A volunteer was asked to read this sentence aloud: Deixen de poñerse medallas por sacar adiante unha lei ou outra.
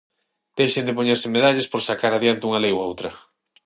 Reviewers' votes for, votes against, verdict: 6, 0, accepted